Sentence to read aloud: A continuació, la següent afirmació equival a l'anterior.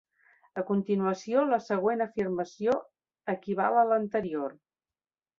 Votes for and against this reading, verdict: 3, 0, accepted